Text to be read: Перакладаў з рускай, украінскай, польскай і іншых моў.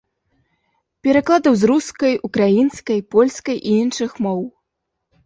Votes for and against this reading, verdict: 0, 2, rejected